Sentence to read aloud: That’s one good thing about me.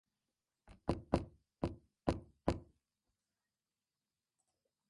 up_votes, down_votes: 0, 3